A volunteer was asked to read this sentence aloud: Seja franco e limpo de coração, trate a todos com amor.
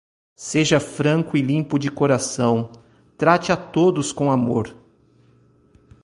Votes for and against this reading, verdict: 2, 0, accepted